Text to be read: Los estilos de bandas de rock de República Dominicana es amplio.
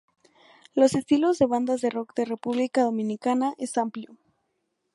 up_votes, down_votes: 2, 0